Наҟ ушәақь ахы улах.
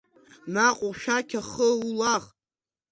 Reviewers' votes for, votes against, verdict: 2, 1, accepted